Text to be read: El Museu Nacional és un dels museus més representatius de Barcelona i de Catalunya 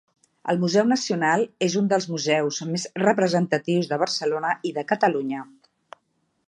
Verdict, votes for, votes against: accepted, 3, 0